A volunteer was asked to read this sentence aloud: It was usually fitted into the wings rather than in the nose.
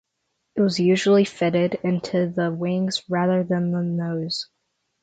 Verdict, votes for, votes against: rejected, 0, 3